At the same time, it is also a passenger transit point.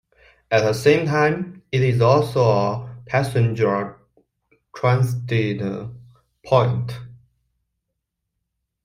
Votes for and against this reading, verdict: 1, 2, rejected